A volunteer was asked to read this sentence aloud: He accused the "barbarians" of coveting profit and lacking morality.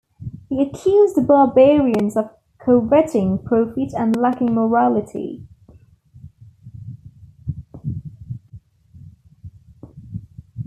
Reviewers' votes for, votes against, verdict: 1, 2, rejected